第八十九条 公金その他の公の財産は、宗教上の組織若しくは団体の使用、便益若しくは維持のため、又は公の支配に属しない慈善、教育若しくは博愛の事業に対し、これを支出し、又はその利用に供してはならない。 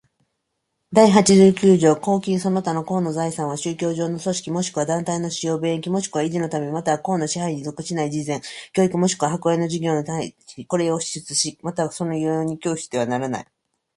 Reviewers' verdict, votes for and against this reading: accepted, 2, 0